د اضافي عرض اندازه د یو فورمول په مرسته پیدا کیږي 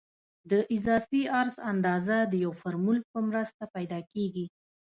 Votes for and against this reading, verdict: 3, 0, accepted